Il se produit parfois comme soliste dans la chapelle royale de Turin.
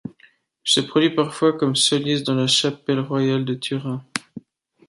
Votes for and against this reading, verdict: 2, 0, accepted